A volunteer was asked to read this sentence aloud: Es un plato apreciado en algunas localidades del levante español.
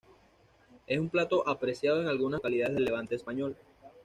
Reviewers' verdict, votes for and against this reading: rejected, 1, 2